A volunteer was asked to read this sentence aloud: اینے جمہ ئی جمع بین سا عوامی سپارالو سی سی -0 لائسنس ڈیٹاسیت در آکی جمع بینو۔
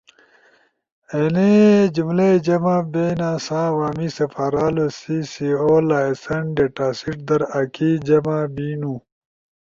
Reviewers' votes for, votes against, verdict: 0, 2, rejected